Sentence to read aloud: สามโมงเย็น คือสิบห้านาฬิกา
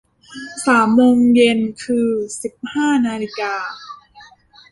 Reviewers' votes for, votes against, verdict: 1, 2, rejected